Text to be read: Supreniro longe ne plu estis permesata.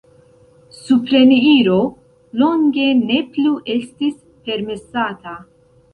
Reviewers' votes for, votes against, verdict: 0, 2, rejected